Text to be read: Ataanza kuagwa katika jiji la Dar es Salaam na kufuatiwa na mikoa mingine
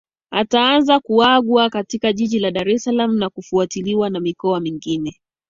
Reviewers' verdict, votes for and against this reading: accepted, 2, 0